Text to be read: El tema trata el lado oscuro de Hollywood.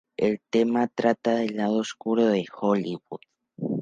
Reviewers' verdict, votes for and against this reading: accepted, 2, 0